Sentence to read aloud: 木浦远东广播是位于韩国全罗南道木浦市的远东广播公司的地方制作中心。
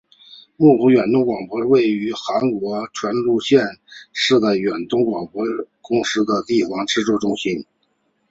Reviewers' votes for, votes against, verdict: 3, 0, accepted